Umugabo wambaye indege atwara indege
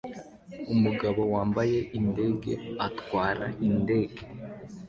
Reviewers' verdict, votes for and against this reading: accepted, 2, 0